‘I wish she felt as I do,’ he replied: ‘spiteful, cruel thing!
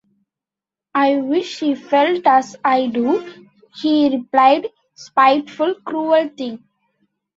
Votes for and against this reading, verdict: 2, 0, accepted